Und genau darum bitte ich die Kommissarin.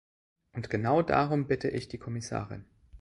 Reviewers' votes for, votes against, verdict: 2, 0, accepted